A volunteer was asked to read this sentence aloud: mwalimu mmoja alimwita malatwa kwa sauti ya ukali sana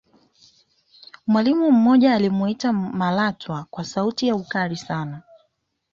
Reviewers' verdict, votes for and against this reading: accepted, 2, 0